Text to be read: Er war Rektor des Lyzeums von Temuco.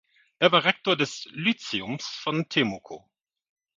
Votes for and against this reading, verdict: 1, 2, rejected